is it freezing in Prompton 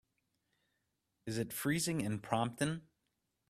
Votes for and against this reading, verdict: 2, 0, accepted